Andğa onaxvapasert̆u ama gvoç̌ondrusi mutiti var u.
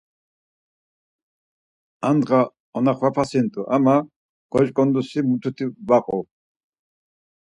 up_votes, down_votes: 2, 4